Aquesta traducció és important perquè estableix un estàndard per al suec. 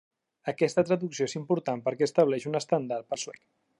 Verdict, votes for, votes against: rejected, 0, 2